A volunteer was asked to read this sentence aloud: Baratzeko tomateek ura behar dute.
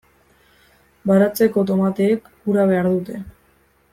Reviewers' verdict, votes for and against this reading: accepted, 2, 0